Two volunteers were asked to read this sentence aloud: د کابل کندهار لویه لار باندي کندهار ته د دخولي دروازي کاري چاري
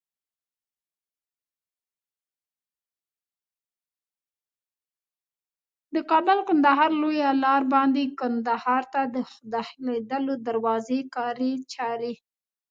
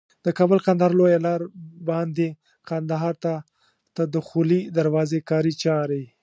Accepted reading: second